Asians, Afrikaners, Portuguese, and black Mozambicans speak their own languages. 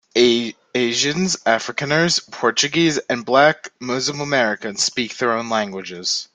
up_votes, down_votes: 0, 2